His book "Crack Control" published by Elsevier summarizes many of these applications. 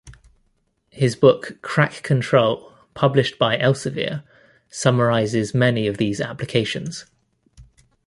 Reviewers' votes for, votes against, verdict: 2, 0, accepted